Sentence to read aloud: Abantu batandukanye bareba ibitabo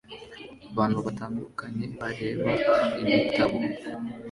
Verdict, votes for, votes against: accepted, 2, 0